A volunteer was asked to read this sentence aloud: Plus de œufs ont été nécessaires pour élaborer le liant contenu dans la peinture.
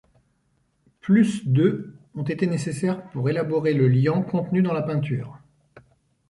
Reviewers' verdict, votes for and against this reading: rejected, 1, 2